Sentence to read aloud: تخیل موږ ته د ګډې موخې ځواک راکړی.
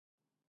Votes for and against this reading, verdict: 1, 2, rejected